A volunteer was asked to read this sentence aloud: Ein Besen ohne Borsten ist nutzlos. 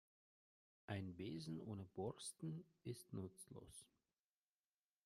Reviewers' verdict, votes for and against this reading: rejected, 0, 2